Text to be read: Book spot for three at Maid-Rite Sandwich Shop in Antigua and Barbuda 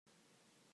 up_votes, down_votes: 0, 2